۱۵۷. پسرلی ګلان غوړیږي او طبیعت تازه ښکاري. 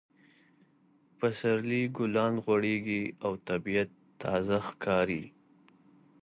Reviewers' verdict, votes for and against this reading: rejected, 0, 2